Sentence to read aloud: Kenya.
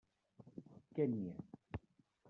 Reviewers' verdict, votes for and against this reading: rejected, 1, 2